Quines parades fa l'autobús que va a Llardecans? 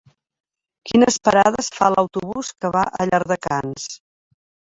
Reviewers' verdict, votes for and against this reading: rejected, 0, 2